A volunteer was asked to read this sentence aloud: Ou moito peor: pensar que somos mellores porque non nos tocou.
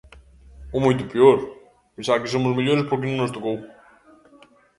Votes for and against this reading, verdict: 0, 2, rejected